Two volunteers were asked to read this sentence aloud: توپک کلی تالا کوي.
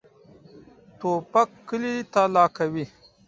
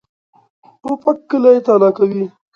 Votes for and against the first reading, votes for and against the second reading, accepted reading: 1, 2, 2, 0, second